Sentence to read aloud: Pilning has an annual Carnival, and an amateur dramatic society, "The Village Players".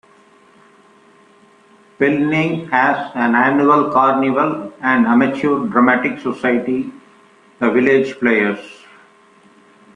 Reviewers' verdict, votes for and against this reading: rejected, 1, 2